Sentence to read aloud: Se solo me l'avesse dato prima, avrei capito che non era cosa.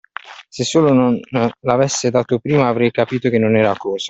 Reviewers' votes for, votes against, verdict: 1, 2, rejected